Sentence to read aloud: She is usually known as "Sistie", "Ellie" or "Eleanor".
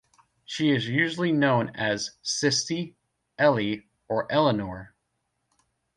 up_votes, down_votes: 2, 0